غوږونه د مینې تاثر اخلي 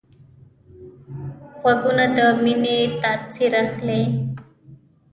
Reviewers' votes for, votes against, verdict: 0, 2, rejected